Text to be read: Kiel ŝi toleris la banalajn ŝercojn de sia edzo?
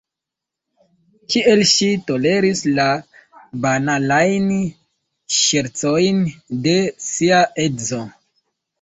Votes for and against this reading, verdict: 1, 2, rejected